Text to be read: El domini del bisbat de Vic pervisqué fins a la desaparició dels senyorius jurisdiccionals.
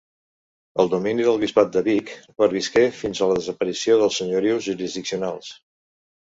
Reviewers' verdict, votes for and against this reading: accepted, 2, 0